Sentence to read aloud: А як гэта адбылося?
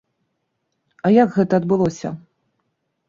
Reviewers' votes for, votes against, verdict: 2, 0, accepted